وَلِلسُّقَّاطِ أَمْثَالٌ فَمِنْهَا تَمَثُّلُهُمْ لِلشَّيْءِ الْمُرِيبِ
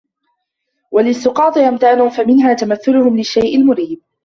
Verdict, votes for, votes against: rejected, 1, 2